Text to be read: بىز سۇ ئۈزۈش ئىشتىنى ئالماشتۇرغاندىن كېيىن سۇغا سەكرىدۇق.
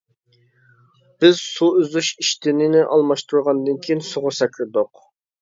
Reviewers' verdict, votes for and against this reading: rejected, 1, 2